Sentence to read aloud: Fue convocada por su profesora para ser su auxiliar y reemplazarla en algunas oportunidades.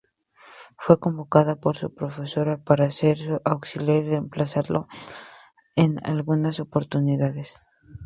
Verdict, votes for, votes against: accepted, 2, 0